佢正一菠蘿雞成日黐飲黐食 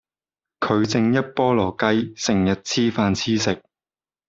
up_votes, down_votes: 0, 2